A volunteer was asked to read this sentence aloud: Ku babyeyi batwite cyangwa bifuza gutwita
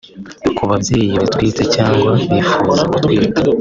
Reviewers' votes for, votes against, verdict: 1, 2, rejected